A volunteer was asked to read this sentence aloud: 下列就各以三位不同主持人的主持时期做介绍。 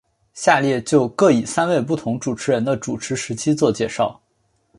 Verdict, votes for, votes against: accepted, 2, 0